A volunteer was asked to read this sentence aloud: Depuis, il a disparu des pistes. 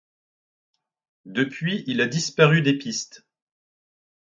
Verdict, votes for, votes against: accepted, 2, 0